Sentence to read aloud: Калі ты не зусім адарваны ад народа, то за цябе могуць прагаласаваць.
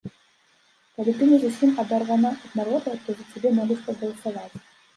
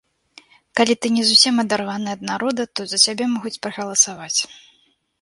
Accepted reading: second